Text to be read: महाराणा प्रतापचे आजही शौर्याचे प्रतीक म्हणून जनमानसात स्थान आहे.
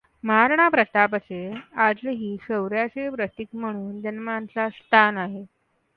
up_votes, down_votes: 2, 0